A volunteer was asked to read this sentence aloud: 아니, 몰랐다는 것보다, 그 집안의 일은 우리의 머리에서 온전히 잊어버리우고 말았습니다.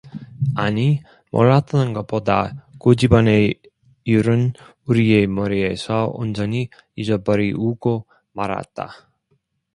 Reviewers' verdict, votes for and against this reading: rejected, 0, 2